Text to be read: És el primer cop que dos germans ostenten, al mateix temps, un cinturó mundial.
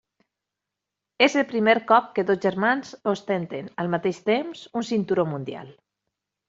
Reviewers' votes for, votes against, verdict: 3, 0, accepted